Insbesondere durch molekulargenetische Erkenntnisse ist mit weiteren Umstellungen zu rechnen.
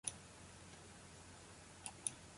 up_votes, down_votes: 0, 2